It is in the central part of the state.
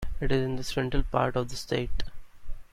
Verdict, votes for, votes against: accepted, 2, 1